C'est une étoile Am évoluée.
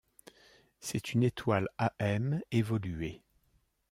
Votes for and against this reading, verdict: 2, 0, accepted